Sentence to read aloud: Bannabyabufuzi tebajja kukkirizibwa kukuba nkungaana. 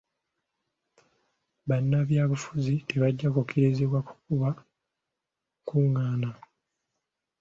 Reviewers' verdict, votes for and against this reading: accepted, 2, 0